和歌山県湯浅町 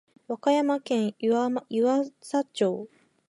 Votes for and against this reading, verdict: 2, 0, accepted